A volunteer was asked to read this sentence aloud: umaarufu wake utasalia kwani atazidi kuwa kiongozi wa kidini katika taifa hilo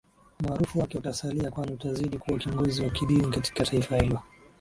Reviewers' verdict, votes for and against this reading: accepted, 2, 1